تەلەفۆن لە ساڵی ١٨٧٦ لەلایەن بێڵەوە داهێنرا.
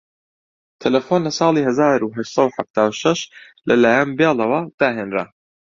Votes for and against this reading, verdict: 0, 2, rejected